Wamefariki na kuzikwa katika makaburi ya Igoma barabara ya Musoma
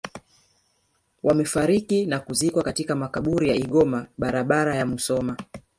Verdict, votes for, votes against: rejected, 1, 2